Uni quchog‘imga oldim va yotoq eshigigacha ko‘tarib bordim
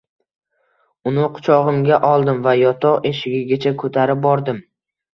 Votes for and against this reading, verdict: 2, 0, accepted